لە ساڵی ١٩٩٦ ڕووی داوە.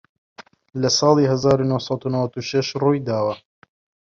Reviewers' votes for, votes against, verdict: 0, 2, rejected